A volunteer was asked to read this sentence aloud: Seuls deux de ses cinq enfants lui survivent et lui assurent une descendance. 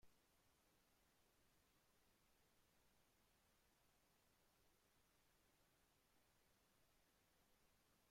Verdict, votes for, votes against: rejected, 0, 2